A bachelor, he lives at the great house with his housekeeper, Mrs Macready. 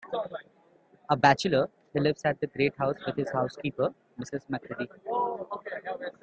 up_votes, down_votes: 2, 0